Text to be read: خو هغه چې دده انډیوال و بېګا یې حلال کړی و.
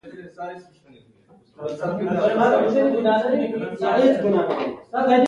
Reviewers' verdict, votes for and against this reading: rejected, 0, 2